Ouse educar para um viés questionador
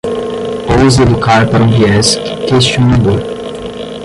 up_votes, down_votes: 5, 0